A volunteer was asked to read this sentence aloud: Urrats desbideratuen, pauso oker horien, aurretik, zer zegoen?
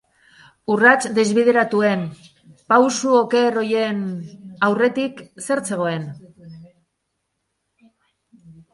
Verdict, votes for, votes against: rejected, 0, 8